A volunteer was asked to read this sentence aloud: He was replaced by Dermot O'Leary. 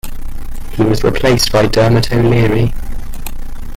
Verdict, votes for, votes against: accepted, 2, 1